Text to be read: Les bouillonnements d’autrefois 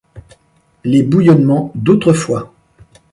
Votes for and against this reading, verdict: 2, 0, accepted